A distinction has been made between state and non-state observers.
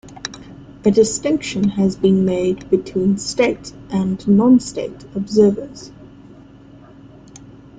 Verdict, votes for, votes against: accepted, 2, 0